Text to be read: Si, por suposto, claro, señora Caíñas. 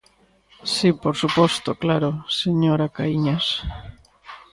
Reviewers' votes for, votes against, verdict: 2, 0, accepted